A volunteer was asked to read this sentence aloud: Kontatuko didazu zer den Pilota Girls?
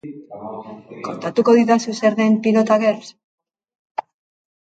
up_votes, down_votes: 2, 0